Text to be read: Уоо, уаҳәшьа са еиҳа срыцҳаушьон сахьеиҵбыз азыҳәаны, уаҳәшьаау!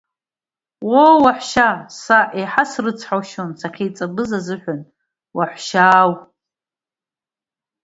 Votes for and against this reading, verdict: 1, 2, rejected